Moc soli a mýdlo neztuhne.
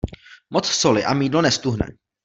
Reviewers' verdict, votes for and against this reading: accepted, 2, 0